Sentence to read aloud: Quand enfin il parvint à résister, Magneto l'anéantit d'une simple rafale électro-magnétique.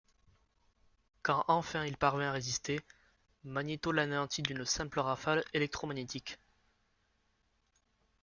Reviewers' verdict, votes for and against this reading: rejected, 0, 2